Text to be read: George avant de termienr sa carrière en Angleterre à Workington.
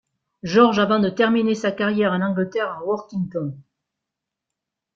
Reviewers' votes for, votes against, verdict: 1, 2, rejected